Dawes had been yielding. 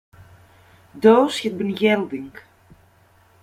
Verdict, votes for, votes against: rejected, 1, 2